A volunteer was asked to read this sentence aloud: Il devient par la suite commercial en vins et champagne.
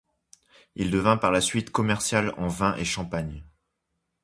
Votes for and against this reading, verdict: 2, 0, accepted